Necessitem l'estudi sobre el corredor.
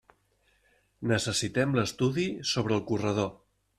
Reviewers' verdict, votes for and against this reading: accepted, 3, 0